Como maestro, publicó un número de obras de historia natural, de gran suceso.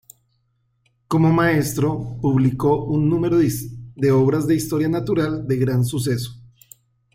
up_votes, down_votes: 0, 2